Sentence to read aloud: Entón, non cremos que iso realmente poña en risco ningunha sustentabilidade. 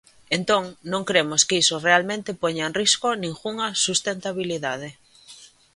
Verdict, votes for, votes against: accepted, 2, 0